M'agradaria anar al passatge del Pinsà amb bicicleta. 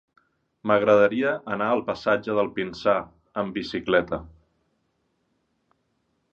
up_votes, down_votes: 4, 0